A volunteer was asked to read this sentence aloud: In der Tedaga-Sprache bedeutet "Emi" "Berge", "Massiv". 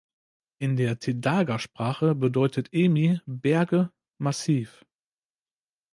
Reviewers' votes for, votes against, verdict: 2, 0, accepted